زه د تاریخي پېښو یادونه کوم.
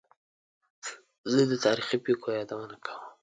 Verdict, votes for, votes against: accepted, 2, 0